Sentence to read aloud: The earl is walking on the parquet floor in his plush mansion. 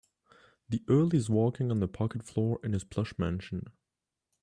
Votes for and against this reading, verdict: 1, 2, rejected